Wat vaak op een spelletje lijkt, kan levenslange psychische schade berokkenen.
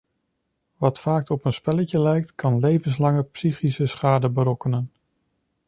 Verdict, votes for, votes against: accepted, 2, 0